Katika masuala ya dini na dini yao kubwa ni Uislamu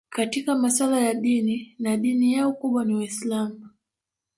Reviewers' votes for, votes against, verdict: 2, 0, accepted